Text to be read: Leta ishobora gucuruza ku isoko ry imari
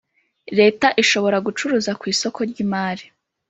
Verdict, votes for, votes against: accepted, 2, 0